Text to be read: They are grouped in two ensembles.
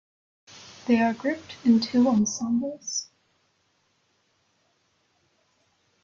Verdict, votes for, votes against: accepted, 2, 0